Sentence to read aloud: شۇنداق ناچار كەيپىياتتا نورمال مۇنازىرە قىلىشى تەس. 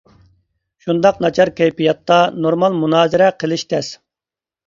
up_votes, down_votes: 2, 0